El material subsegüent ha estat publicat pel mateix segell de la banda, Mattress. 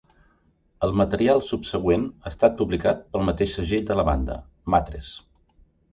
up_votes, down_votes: 2, 0